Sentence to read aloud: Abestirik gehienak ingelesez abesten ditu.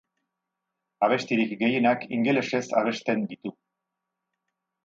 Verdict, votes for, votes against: accepted, 4, 0